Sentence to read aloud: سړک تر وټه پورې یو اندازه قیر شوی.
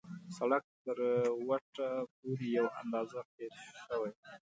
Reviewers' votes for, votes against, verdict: 2, 0, accepted